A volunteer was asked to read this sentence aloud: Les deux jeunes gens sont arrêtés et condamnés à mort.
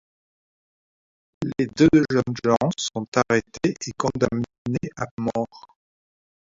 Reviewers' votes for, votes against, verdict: 2, 1, accepted